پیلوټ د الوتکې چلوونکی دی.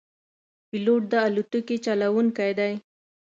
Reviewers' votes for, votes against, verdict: 2, 0, accepted